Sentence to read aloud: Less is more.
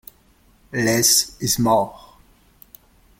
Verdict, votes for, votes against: accepted, 2, 0